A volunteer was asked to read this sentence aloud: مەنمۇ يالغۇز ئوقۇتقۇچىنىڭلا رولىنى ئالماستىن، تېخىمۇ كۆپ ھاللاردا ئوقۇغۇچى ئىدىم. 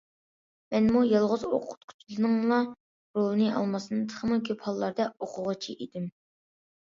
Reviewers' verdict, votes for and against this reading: accepted, 2, 0